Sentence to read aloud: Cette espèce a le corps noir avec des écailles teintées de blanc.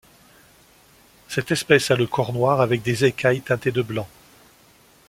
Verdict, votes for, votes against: accepted, 2, 0